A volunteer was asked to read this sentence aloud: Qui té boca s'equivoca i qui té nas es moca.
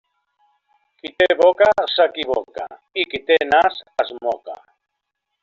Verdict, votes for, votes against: accepted, 3, 0